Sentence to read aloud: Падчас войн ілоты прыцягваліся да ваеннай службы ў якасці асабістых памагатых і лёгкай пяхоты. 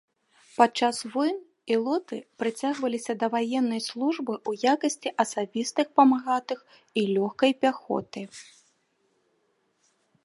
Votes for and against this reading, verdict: 2, 0, accepted